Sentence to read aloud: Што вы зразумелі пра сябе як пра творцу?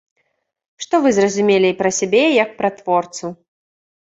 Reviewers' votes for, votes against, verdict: 2, 0, accepted